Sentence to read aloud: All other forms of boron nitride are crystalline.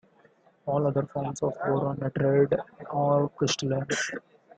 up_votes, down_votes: 1, 2